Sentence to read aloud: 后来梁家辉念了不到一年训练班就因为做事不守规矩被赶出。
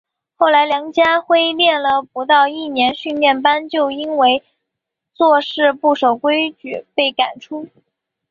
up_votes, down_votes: 2, 0